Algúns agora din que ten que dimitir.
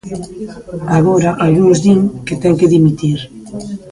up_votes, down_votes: 0, 2